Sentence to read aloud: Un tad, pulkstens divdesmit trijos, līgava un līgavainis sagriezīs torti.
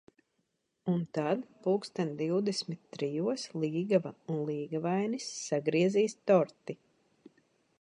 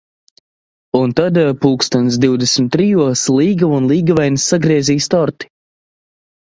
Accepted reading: second